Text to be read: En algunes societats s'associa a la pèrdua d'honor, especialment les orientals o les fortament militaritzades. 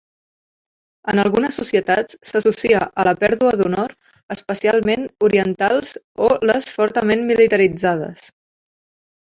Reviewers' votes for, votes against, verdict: 0, 2, rejected